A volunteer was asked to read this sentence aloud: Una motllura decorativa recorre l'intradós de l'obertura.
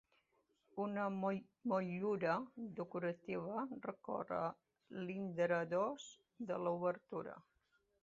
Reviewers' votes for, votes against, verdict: 2, 0, accepted